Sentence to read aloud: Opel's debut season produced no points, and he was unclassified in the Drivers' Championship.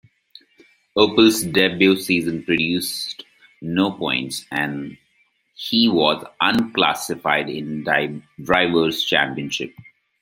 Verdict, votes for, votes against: rejected, 0, 2